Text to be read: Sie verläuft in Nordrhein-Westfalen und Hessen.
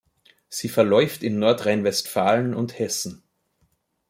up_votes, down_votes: 2, 0